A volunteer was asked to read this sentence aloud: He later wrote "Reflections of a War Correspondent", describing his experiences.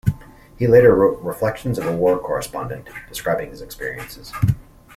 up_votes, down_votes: 2, 0